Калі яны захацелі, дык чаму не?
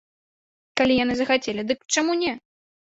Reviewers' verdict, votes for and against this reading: accepted, 2, 0